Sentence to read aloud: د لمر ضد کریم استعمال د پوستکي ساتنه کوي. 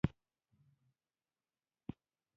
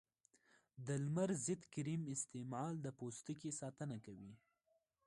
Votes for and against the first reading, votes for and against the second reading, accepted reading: 1, 3, 2, 0, second